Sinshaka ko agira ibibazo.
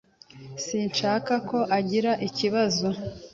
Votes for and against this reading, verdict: 2, 1, accepted